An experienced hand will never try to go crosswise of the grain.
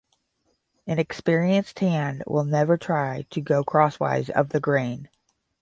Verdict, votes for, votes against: rejected, 0, 5